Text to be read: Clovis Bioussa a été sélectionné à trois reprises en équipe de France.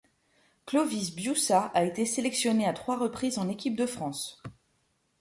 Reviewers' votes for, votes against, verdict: 2, 0, accepted